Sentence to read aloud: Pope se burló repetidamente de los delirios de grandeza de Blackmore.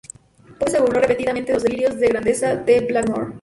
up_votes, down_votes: 0, 2